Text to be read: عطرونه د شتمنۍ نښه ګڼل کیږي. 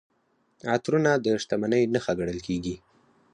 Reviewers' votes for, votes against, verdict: 4, 0, accepted